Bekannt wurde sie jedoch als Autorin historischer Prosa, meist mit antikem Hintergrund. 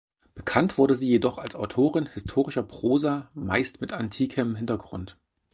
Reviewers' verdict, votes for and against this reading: accepted, 4, 0